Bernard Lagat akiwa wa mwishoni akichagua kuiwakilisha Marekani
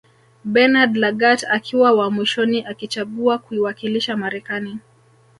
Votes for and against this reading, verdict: 0, 2, rejected